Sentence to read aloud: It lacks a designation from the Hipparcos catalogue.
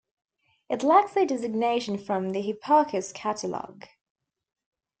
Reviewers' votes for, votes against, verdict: 2, 0, accepted